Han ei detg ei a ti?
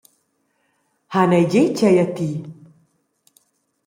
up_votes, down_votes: 1, 2